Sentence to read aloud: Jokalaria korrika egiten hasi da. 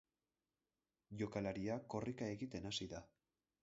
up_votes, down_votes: 6, 0